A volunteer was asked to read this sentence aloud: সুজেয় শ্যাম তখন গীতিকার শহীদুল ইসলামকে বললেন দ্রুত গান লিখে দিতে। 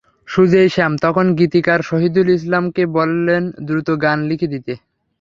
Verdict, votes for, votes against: rejected, 0, 3